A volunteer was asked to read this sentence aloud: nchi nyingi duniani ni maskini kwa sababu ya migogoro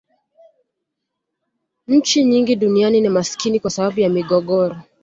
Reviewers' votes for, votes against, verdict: 2, 0, accepted